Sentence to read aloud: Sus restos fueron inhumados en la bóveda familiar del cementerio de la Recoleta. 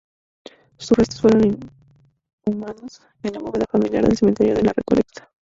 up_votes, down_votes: 0, 2